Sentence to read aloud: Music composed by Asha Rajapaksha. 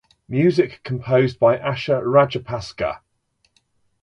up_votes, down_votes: 1, 2